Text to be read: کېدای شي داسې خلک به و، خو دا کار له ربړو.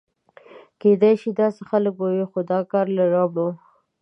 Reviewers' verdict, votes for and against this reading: accepted, 2, 0